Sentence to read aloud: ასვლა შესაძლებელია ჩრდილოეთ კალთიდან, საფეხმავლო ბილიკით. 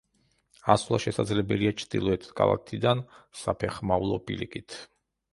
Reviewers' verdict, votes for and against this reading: rejected, 0, 2